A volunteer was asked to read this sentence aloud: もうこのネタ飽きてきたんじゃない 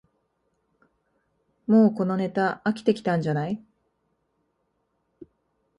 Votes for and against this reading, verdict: 2, 0, accepted